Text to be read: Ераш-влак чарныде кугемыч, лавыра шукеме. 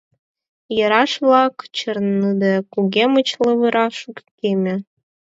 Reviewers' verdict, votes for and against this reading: rejected, 0, 4